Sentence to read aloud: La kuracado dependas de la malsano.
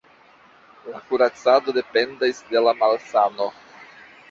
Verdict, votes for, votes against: rejected, 1, 2